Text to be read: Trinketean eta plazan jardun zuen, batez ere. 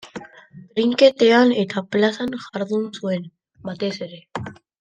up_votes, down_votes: 1, 2